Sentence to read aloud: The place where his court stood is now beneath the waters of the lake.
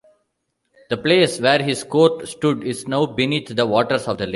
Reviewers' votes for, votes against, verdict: 1, 2, rejected